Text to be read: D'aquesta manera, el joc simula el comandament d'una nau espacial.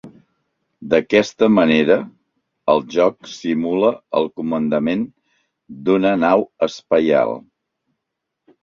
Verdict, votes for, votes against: rejected, 0, 2